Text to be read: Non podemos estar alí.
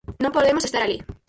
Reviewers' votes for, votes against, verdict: 2, 4, rejected